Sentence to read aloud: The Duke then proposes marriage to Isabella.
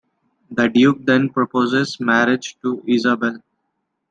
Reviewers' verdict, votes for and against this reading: accepted, 2, 1